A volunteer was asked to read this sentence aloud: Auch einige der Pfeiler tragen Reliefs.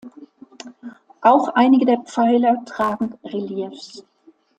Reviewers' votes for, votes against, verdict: 2, 0, accepted